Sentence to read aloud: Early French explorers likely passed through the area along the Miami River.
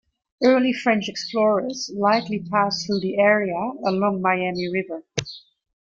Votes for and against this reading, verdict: 0, 2, rejected